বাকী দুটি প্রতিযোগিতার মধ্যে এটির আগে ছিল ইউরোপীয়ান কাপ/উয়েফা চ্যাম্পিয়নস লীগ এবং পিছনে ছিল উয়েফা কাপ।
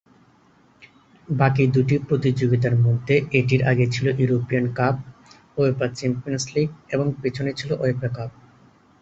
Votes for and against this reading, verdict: 8, 2, accepted